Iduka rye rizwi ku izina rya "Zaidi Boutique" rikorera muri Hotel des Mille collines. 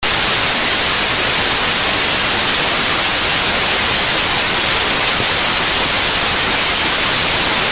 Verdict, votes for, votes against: rejected, 0, 2